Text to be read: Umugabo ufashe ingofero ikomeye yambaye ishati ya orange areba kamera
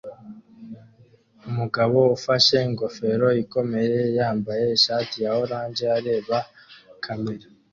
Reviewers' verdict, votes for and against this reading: accepted, 2, 0